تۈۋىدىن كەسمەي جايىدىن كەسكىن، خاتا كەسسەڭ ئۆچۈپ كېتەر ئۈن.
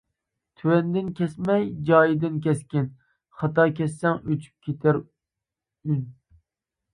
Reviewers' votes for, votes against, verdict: 0, 2, rejected